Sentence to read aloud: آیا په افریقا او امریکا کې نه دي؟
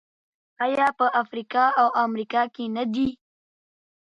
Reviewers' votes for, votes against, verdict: 2, 0, accepted